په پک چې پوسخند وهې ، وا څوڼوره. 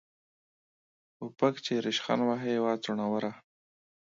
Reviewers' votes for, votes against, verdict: 0, 2, rejected